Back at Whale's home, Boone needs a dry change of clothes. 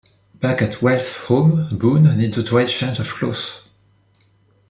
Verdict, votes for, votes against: rejected, 0, 2